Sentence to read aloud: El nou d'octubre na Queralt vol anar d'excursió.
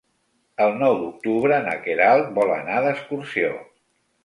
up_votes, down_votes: 2, 0